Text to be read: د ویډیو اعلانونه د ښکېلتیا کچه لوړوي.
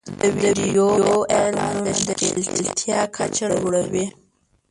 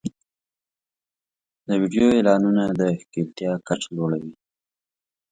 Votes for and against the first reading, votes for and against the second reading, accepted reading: 0, 2, 2, 1, second